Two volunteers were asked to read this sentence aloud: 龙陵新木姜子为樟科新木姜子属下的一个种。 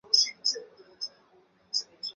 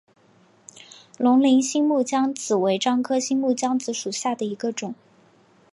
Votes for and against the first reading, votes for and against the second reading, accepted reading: 0, 3, 2, 0, second